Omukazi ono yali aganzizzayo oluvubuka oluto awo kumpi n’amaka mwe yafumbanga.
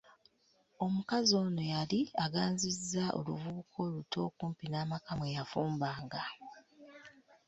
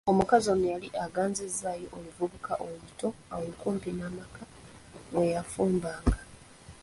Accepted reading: second